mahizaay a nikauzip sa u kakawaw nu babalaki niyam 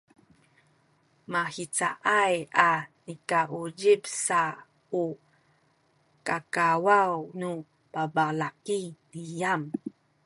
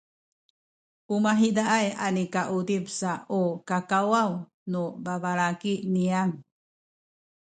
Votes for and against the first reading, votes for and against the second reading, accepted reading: 2, 1, 1, 2, first